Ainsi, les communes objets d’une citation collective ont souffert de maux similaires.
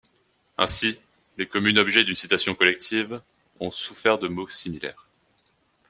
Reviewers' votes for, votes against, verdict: 2, 0, accepted